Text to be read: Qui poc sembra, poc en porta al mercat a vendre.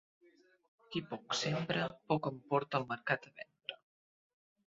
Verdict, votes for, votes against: rejected, 0, 2